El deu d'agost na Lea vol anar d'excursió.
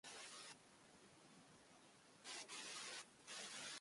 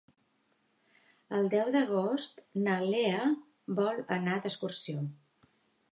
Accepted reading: second